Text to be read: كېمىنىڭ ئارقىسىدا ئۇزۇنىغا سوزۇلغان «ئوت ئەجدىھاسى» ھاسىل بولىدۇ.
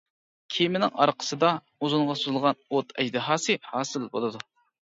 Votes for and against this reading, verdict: 2, 1, accepted